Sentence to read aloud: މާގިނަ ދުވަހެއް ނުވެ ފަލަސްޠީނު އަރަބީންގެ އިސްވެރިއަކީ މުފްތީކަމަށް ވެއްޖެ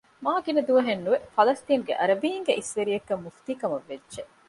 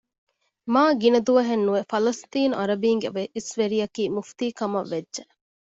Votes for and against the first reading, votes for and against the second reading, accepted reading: 0, 2, 2, 0, second